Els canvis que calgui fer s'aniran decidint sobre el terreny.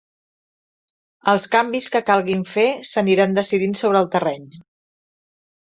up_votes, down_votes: 1, 2